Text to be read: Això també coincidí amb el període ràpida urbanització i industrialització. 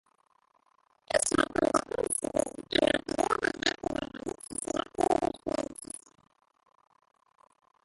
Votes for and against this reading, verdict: 0, 2, rejected